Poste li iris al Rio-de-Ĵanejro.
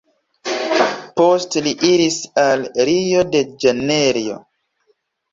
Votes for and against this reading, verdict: 3, 1, accepted